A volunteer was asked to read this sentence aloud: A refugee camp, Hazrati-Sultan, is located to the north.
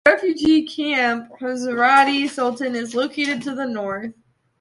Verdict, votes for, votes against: rejected, 1, 2